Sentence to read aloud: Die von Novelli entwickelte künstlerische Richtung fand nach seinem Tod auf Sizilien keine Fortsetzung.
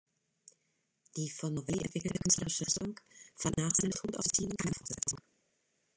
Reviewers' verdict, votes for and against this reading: rejected, 1, 2